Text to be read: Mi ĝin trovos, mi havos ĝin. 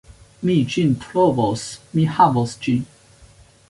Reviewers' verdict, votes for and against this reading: accepted, 2, 0